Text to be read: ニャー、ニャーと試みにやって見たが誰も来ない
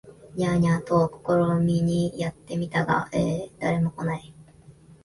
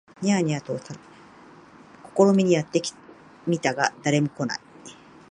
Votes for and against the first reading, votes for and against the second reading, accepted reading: 2, 0, 0, 2, first